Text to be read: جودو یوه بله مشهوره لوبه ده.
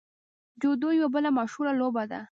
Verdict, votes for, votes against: rejected, 1, 2